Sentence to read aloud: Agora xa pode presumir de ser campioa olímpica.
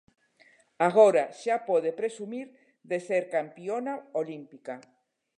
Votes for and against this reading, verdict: 0, 2, rejected